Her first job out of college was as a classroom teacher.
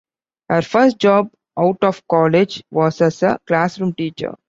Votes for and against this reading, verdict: 2, 0, accepted